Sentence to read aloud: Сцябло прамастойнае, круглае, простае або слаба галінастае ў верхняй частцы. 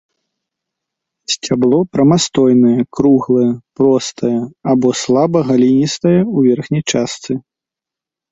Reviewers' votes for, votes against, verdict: 1, 2, rejected